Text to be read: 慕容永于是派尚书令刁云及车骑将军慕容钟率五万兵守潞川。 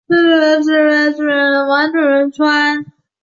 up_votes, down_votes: 0, 2